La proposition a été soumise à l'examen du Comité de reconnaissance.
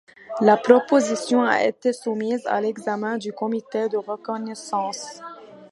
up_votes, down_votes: 2, 0